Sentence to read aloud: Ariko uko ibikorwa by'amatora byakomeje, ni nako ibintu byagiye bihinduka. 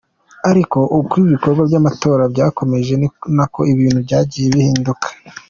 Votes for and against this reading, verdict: 2, 0, accepted